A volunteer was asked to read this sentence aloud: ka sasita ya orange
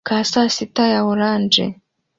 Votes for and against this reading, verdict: 2, 0, accepted